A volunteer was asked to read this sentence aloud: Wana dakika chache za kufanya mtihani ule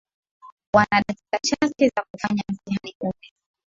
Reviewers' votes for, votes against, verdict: 0, 2, rejected